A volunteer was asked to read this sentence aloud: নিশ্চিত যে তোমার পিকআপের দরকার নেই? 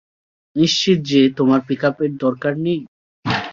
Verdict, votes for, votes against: accepted, 2, 0